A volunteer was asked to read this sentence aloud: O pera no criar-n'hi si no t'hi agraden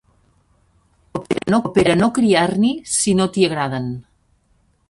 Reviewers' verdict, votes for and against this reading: rejected, 0, 2